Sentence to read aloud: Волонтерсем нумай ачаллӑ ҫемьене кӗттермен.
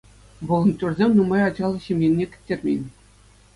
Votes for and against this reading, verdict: 2, 0, accepted